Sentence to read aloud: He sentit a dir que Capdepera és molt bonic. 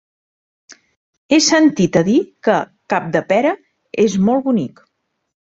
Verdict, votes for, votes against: accepted, 2, 0